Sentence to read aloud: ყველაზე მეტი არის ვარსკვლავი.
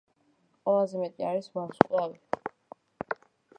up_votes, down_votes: 1, 2